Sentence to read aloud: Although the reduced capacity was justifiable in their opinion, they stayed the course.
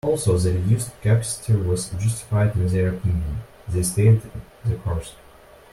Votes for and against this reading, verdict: 0, 2, rejected